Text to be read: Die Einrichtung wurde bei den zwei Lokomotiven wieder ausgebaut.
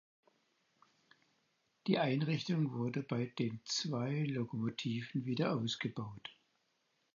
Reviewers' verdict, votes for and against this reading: accepted, 4, 0